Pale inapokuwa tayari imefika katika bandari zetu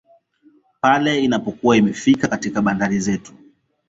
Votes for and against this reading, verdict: 2, 0, accepted